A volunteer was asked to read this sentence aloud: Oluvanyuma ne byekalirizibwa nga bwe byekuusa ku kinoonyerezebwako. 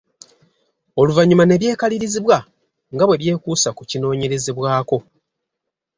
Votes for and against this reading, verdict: 2, 0, accepted